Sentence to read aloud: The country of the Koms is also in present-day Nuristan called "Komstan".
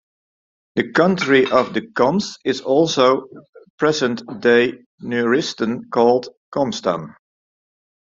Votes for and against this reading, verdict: 0, 2, rejected